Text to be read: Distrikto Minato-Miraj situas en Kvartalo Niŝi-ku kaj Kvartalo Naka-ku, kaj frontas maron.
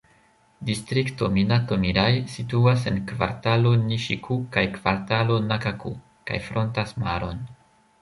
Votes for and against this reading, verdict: 1, 2, rejected